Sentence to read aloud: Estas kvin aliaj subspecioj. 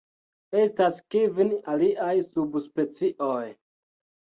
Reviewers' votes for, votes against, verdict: 1, 2, rejected